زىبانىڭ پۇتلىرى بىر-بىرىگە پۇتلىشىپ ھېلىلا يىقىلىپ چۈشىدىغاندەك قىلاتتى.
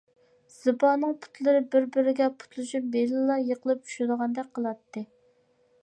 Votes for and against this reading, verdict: 2, 1, accepted